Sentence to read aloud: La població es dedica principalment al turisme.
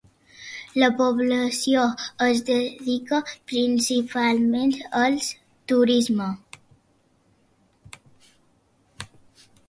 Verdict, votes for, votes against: rejected, 1, 2